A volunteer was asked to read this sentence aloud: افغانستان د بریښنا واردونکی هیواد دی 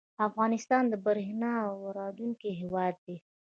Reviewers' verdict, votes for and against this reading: rejected, 1, 2